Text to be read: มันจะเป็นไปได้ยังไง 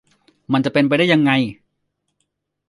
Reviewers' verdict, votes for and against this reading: accepted, 2, 0